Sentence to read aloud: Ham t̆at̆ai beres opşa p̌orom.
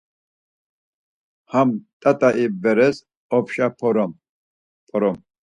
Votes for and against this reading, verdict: 0, 4, rejected